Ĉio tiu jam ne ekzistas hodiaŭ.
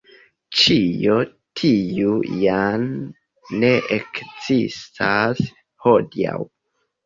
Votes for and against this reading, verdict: 2, 0, accepted